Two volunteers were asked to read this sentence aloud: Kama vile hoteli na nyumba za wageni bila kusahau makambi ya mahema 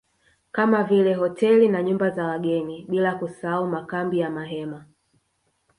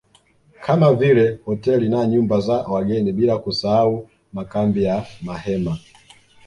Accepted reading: second